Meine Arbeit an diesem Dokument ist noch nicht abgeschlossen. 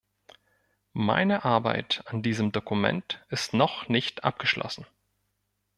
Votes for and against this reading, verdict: 2, 0, accepted